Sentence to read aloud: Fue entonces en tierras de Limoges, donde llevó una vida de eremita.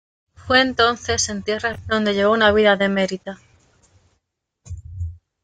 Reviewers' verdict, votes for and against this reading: rejected, 1, 2